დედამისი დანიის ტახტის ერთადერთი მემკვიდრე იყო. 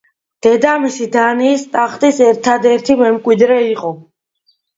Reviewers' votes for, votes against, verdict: 2, 0, accepted